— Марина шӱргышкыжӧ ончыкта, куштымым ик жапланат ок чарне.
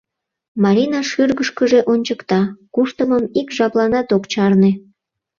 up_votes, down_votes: 2, 0